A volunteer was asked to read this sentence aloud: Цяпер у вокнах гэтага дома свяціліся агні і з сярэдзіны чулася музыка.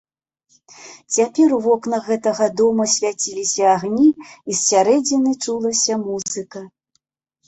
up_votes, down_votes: 2, 0